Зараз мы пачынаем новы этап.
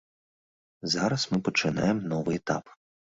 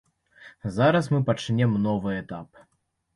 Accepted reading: first